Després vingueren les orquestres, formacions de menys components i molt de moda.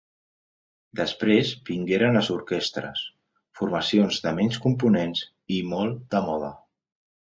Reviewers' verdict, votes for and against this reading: accepted, 2, 0